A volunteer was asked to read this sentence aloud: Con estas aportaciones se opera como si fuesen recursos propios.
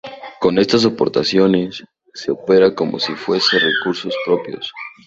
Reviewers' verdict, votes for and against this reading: accepted, 2, 0